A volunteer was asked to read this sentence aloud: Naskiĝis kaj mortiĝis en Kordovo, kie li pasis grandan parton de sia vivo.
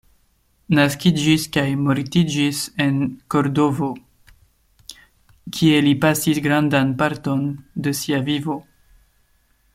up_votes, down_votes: 2, 0